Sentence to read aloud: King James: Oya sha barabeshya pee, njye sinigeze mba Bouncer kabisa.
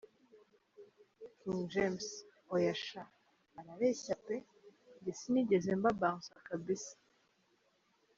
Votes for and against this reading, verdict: 2, 0, accepted